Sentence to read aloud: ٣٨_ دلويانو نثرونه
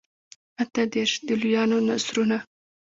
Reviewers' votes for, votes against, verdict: 0, 2, rejected